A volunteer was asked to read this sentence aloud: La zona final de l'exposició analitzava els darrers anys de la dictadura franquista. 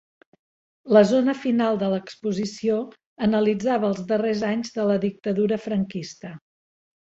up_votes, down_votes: 3, 0